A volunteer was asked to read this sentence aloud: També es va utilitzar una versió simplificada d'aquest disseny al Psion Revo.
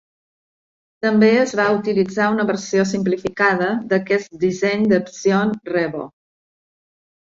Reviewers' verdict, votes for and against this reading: rejected, 1, 2